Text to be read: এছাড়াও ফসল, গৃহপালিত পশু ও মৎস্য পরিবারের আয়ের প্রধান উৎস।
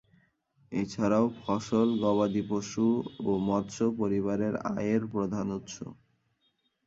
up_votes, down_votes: 1, 2